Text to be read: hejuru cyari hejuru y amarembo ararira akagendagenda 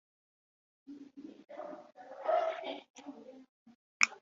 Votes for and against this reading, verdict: 0, 3, rejected